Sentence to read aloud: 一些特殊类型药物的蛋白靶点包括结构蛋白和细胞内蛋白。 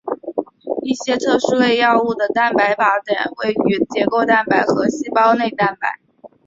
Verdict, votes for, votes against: rejected, 1, 2